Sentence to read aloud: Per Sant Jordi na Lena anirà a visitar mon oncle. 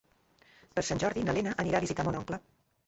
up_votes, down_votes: 2, 0